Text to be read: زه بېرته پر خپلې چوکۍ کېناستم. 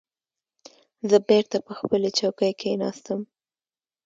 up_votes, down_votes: 2, 1